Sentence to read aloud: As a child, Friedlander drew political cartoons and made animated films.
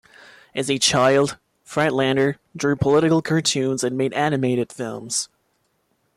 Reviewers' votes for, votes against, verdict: 1, 2, rejected